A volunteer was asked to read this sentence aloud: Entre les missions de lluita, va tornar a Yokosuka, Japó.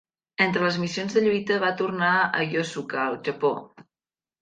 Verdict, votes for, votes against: rejected, 0, 2